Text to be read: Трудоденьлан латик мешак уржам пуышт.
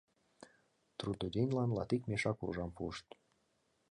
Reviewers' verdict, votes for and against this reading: accepted, 2, 0